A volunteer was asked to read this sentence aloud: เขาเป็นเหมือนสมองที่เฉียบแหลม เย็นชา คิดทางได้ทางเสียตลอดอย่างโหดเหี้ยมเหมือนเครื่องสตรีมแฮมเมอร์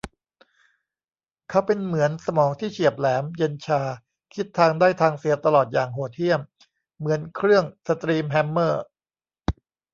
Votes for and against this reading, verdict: 2, 0, accepted